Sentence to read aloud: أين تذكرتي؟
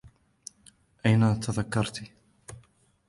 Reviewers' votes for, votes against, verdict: 0, 2, rejected